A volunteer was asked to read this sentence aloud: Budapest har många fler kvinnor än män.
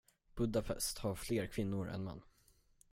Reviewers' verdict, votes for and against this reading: rejected, 0, 10